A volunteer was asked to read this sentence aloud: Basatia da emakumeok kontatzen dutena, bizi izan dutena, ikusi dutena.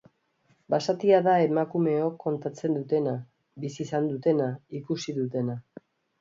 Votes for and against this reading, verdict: 2, 0, accepted